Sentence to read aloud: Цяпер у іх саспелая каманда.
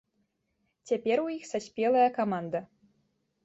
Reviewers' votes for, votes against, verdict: 2, 0, accepted